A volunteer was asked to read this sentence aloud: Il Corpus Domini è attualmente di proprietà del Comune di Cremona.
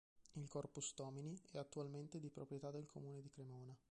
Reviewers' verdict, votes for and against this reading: rejected, 1, 3